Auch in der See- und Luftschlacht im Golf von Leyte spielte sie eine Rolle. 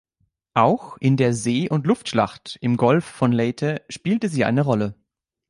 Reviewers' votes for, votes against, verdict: 3, 0, accepted